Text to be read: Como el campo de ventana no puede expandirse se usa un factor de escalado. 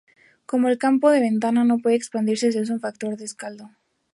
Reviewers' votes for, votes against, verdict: 0, 4, rejected